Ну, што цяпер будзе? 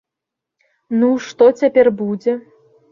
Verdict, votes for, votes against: accepted, 2, 0